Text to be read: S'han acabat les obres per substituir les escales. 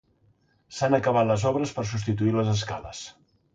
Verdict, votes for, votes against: accepted, 2, 0